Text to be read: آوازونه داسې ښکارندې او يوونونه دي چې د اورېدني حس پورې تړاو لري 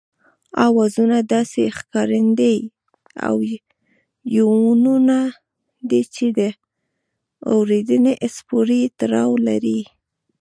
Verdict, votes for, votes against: rejected, 0, 2